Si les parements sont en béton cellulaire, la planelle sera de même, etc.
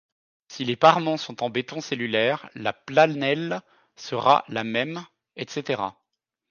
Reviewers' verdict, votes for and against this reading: rejected, 0, 2